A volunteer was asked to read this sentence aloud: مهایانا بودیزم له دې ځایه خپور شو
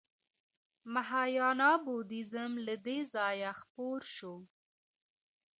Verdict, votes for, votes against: rejected, 1, 2